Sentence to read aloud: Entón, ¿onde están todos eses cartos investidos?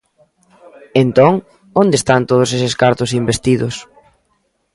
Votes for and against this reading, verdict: 2, 0, accepted